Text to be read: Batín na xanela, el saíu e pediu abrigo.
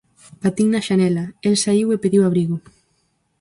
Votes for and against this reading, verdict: 4, 0, accepted